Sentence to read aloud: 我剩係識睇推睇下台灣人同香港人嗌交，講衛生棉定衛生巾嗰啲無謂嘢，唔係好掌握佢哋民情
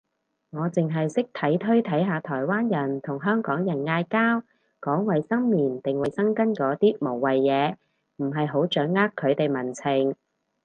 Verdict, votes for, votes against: rejected, 2, 2